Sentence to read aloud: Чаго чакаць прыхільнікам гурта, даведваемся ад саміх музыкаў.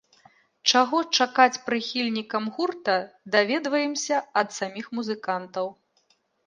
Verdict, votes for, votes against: rejected, 1, 2